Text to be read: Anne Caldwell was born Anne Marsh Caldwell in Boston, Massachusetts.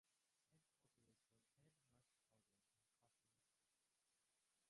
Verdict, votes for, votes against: rejected, 0, 2